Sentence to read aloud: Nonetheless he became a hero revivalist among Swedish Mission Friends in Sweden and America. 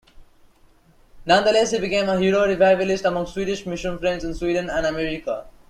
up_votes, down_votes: 0, 2